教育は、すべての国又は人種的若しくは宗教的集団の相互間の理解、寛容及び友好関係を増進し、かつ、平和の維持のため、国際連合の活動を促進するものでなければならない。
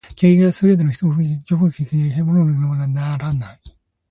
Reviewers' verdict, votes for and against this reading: rejected, 0, 2